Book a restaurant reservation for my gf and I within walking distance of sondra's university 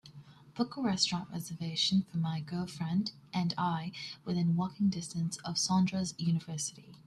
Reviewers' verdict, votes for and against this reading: rejected, 0, 2